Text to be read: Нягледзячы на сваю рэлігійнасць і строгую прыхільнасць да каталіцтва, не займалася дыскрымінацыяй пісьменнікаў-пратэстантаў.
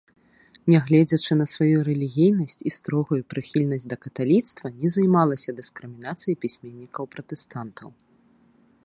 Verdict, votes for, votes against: accepted, 2, 0